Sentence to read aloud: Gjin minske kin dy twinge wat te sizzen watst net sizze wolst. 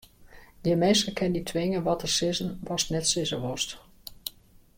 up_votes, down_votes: 2, 1